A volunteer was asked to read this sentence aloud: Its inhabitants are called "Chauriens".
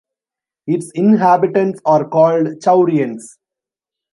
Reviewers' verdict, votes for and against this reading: rejected, 1, 2